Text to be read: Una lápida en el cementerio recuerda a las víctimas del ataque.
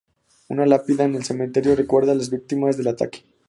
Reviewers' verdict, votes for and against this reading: accepted, 6, 0